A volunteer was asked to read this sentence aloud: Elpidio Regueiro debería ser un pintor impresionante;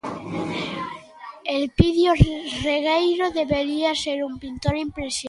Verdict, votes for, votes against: rejected, 0, 2